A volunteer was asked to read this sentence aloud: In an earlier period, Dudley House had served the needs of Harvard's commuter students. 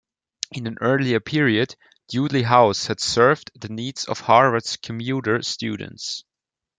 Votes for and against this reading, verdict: 0, 2, rejected